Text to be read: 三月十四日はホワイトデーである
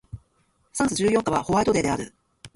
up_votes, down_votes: 0, 2